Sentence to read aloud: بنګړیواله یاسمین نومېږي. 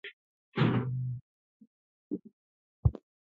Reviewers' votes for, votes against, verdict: 1, 2, rejected